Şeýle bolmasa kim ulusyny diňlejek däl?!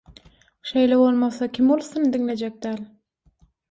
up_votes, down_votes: 6, 0